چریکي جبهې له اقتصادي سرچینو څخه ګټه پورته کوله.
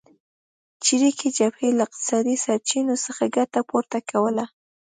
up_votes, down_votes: 2, 0